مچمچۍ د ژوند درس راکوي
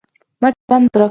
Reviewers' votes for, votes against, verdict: 0, 4, rejected